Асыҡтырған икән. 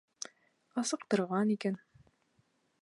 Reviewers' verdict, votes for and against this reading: accepted, 2, 1